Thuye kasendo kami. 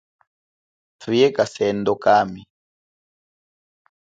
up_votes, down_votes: 2, 0